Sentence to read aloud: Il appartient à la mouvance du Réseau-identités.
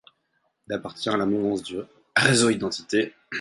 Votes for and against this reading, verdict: 0, 4, rejected